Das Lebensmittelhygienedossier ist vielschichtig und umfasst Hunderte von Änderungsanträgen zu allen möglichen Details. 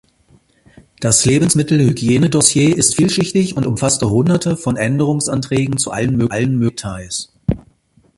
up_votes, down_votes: 0, 2